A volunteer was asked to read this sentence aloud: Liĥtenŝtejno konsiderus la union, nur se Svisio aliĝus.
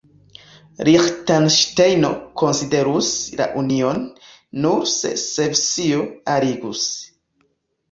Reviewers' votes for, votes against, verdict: 2, 1, accepted